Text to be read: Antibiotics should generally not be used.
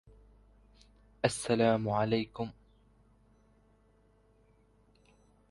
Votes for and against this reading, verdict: 0, 2, rejected